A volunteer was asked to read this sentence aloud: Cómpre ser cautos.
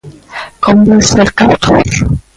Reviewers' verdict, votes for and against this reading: rejected, 0, 2